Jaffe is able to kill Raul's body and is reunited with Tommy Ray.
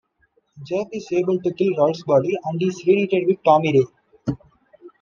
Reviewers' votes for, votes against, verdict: 1, 2, rejected